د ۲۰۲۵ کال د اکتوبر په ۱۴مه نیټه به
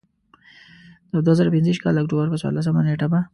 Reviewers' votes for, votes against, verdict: 0, 2, rejected